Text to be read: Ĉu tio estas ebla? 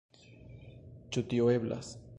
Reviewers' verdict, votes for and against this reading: rejected, 1, 3